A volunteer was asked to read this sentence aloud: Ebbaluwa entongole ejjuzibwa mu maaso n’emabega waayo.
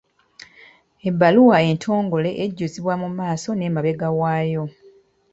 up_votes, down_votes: 2, 0